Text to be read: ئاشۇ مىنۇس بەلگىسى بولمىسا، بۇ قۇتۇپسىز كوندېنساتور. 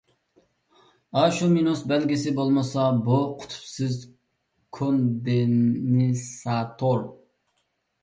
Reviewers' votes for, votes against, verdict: 0, 2, rejected